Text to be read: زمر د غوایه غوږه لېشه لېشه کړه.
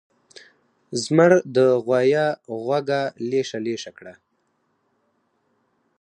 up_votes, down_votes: 0, 4